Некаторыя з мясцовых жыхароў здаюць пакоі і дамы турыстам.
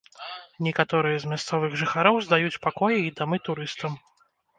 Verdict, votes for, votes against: rejected, 1, 2